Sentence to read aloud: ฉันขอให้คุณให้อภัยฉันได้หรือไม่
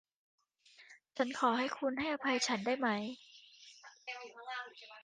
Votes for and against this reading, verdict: 0, 2, rejected